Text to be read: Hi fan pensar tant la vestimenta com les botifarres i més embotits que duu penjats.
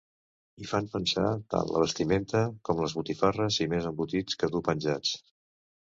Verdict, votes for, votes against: rejected, 0, 2